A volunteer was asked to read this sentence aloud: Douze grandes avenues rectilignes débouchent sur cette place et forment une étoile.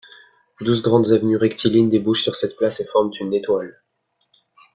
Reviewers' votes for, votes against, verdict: 1, 2, rejected